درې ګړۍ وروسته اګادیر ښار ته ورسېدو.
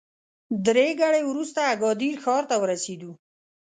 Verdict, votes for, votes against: accepted, 2, 0